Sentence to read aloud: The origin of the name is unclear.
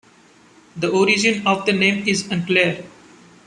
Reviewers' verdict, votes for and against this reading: rejected, 1, 2